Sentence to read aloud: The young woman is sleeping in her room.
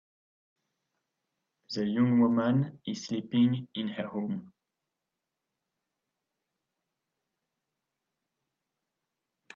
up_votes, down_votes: 1, 2